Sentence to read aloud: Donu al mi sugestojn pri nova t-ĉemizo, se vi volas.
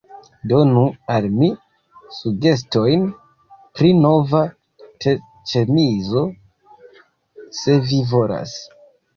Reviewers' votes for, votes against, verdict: 1, 2, rejected